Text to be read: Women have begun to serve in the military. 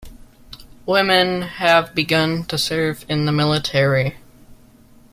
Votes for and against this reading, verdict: 2, 0, accepted